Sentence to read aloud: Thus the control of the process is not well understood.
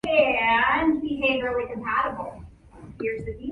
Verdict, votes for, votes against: rejected, 0, 2